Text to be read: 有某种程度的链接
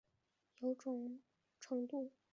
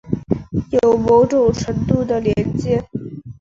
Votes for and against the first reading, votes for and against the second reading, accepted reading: 0, 3, 4, 0, second